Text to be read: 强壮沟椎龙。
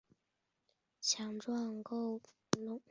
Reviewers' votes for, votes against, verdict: 0, 2, rejected